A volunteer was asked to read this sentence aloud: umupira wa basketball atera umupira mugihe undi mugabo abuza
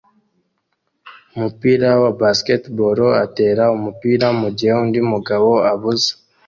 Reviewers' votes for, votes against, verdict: 2, 0, accepted